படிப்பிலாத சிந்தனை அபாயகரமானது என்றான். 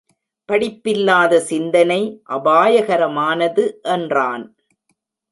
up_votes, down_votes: 1, 2